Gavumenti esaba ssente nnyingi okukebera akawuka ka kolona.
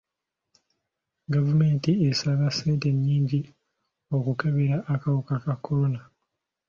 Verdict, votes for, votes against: accepted, 2, 0